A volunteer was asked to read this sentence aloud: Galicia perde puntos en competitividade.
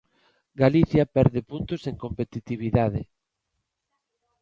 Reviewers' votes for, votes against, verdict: 2, 0, accepted